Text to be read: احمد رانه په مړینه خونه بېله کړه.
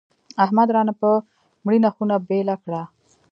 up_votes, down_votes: 0, 2